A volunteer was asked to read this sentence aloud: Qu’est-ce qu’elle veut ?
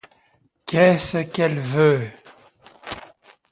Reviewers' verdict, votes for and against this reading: accepted, 2, 0